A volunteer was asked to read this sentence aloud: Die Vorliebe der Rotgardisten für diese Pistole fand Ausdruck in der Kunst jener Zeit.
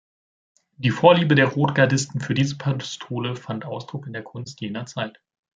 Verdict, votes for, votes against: rejected, 1, 2